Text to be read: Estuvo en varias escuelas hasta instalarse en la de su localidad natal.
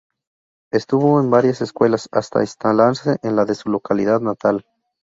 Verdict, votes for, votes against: rejected, 0, 2